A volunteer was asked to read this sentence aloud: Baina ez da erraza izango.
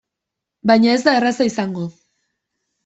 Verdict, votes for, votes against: accepted, 2, 0